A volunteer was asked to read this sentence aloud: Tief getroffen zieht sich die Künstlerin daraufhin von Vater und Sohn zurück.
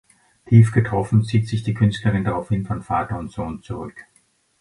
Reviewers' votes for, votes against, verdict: 2, 0, accepted